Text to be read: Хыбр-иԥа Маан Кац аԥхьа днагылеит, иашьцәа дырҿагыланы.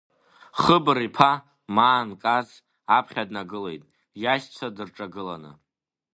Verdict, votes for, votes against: rejected, 1, 2